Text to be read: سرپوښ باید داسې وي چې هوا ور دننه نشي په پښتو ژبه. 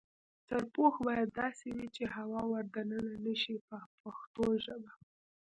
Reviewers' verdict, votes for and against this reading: accepted, 2, 1